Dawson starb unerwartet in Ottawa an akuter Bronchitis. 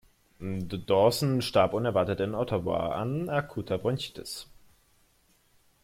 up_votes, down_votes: 2, 1